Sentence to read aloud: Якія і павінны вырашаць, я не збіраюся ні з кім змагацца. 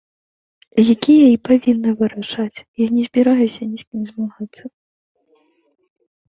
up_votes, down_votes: 1, 2